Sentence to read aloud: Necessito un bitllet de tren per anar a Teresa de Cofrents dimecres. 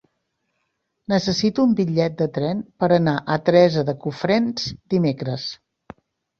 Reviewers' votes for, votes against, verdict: 3, 0, accepted